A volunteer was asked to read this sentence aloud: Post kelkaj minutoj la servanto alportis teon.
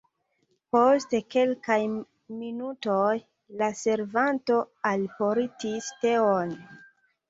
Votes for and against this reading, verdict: 2, 0, accepted